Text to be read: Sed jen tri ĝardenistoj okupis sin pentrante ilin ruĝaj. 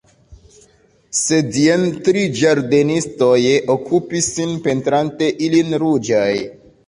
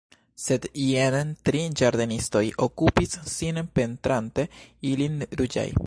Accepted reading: first